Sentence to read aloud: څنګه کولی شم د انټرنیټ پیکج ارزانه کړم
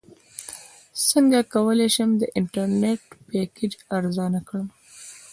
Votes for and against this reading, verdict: 2, 0, accepted